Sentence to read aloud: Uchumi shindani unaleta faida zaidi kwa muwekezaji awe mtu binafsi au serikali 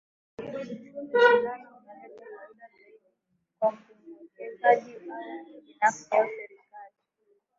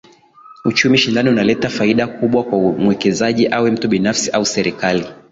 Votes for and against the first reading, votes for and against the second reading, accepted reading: 0, 2, 2, 0, second